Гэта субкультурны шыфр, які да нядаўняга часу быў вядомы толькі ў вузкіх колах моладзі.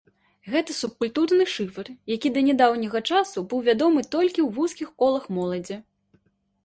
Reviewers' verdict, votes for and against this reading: accepted, 2, 0